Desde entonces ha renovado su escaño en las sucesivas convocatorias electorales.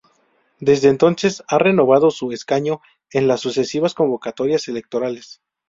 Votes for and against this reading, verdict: 2, 0, accepted